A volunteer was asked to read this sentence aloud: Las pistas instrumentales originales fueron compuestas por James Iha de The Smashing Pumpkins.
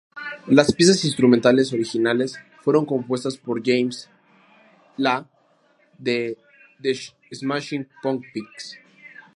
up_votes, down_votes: 2, 0